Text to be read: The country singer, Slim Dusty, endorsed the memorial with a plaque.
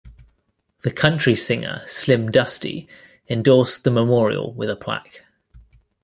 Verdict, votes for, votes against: accepted, 2, 0